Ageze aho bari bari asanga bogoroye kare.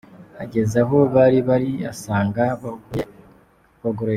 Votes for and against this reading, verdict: 0, 2, rejected